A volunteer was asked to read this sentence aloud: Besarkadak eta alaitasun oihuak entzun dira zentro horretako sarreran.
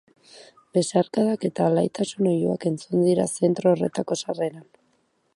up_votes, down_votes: 4, 0